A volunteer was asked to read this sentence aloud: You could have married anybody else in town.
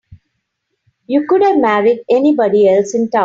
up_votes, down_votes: 2, 0